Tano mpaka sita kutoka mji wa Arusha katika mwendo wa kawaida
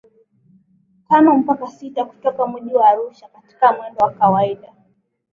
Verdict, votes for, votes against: rejected, 0, 4